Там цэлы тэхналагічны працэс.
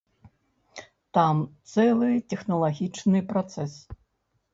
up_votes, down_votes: 1, 2